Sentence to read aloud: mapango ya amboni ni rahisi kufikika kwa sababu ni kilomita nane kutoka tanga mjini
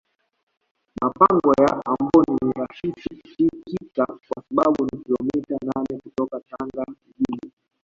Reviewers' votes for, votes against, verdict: 1, 2, rejected